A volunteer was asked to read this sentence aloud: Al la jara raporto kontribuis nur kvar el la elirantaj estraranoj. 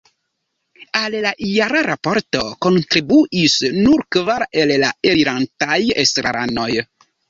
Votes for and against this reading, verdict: 1, 2, rejected